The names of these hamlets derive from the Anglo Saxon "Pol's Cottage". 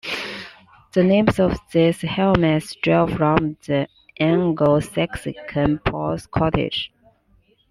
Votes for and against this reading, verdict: 0, 2, rejected